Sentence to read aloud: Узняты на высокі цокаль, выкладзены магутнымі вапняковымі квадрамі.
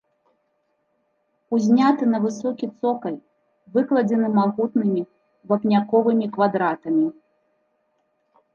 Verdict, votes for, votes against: rejected, 1, 2